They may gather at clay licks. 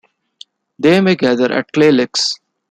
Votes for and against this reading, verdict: 0, 2, rejected